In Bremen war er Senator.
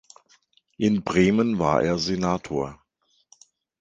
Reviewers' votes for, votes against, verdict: 2, 1, accepted